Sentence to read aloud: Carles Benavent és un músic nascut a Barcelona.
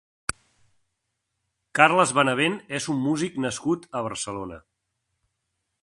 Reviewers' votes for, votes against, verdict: 3, 0, accepted